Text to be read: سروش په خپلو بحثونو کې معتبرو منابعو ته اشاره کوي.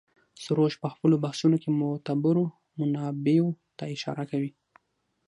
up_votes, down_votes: 3, 6